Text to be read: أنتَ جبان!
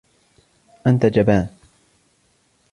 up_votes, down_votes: 1, 2